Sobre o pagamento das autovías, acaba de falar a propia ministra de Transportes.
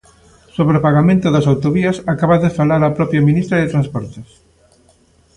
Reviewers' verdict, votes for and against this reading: accepted, 2, 0